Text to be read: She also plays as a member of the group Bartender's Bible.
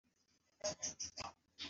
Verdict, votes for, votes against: rejected, 0, 2